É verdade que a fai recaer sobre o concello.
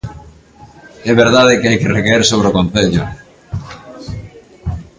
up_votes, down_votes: 0, 2